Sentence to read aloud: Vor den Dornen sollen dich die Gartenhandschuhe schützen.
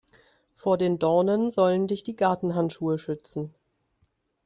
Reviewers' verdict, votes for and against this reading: accepted, 2, 0